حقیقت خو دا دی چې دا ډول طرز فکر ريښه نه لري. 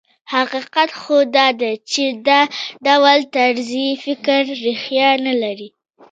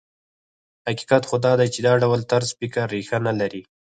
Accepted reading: first